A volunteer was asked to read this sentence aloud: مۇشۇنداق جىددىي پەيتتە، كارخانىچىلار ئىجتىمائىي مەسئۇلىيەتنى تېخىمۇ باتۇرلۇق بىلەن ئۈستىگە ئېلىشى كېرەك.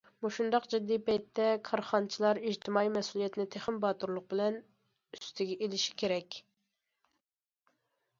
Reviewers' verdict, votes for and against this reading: accepted, 2, 0